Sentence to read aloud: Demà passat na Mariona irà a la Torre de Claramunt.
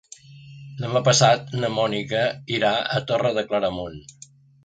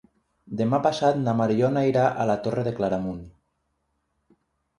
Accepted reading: second